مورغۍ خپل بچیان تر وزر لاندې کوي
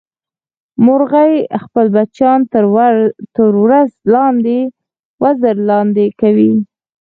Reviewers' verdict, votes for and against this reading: rejected, 2, 4